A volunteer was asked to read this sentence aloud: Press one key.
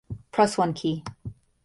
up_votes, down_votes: 2, 1